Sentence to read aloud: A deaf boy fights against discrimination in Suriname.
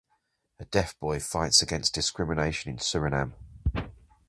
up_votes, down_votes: 2, 0